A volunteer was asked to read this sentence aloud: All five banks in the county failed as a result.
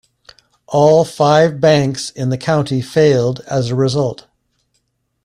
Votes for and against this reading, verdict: 2, 0, accepted